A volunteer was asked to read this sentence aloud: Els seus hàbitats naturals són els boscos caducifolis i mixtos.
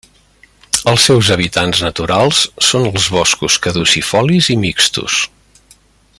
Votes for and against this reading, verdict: 0, 2, rejected